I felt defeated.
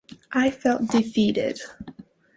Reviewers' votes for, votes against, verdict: 2, 0, accepted